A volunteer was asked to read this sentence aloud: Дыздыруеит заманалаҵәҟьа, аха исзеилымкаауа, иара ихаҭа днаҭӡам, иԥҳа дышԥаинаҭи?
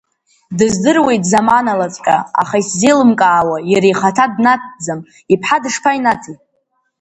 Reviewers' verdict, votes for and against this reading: accepted, 4, 2